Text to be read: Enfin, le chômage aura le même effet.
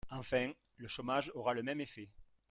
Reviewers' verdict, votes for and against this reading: rejected, 1, 2